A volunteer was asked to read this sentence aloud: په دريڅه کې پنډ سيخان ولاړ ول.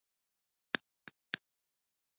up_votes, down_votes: 0, 2